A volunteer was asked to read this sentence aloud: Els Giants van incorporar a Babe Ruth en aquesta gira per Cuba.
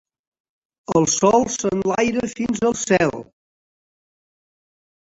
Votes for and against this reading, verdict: 0, 3, rejected